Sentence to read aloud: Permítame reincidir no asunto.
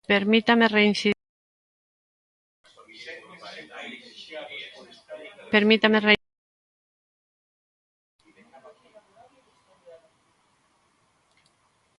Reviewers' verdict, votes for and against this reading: rejected, 0, 2